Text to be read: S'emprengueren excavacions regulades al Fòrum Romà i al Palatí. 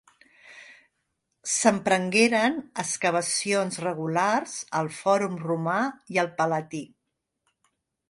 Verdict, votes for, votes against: rejected, 0, 2